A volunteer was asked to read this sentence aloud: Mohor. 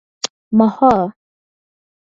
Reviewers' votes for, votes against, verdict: 4, 0, accepted